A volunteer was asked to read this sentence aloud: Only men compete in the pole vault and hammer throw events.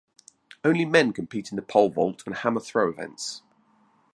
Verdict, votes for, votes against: accepted, 2, 0